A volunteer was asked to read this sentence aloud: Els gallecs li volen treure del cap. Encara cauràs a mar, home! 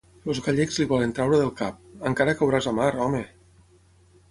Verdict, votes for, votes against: rejected, 3, 6